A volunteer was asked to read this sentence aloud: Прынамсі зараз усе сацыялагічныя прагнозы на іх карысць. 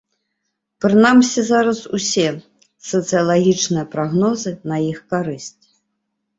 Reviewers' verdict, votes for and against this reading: accepted, 2, 0